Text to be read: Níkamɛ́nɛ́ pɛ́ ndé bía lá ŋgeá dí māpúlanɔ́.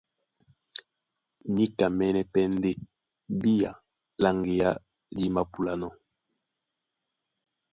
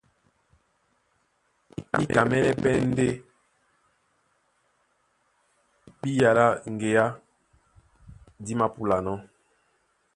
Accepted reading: first